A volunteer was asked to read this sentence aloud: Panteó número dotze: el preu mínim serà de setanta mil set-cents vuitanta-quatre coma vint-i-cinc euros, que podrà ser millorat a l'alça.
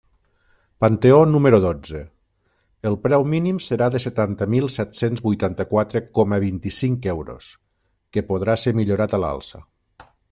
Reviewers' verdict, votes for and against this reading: accepted, 3, 0